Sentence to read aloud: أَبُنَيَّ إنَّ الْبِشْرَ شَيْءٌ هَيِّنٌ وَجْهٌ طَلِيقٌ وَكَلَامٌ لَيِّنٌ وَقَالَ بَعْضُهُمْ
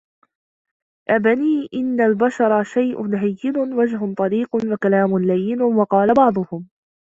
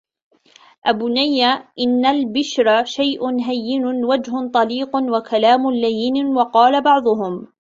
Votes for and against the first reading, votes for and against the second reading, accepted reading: 1, 2, 2, 0, second